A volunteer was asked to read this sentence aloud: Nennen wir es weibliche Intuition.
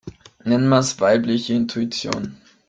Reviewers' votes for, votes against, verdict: 0, 2, rejected